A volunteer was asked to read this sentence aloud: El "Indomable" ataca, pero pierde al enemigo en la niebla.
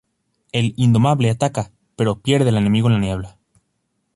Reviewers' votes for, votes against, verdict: 2, 2, rejected